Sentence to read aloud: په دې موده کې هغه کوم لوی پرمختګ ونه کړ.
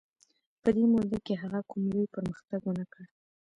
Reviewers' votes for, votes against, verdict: 2, 0, accepted